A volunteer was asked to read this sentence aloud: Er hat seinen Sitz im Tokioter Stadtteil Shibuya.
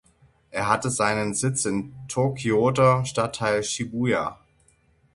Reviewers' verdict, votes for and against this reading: rejected, 0, 6